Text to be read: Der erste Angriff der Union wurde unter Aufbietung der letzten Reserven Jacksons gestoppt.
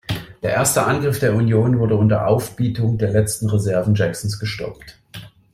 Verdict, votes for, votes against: accepted, 2, 0